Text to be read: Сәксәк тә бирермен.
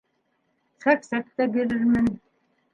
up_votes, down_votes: 0, 2